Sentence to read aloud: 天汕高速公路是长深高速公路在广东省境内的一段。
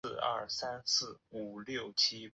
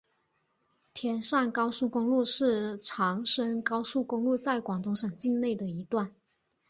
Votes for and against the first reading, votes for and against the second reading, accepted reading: 2, 4, 3, 0, second